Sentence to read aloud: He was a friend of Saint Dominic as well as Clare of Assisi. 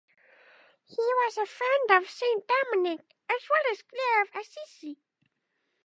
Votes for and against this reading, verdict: 0, 2, rejected